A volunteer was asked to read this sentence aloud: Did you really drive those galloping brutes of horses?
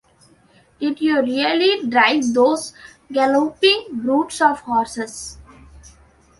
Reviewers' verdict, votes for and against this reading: accepted, 2, 0